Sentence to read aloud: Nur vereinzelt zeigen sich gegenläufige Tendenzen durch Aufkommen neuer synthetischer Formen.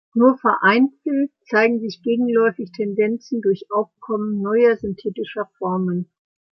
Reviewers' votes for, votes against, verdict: 0, 2, rejected